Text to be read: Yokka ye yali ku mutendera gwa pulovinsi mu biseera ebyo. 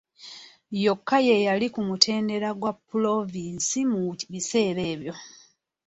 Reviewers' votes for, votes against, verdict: 2, 0, accepted